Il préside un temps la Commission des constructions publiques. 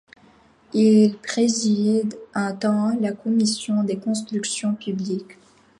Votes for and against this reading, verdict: 2, 0, accepted